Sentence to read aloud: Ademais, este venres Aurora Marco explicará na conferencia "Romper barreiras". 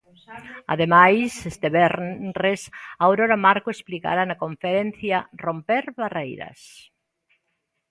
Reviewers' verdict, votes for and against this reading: rejected, 0, 2